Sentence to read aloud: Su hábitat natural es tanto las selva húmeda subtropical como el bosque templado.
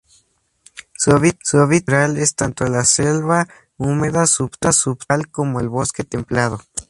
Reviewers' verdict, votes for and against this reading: rejected, 2, 4